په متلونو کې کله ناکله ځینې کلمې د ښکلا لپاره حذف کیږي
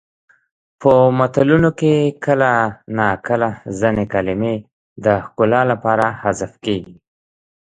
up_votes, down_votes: 2, 0